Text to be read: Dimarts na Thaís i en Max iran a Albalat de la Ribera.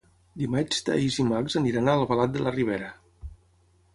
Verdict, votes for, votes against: rejected, 3, 6